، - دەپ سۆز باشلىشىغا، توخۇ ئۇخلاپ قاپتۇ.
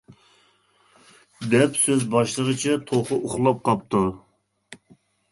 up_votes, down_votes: 0, 2